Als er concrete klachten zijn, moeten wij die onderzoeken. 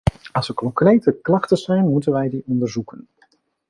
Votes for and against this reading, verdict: 2, 0, accepted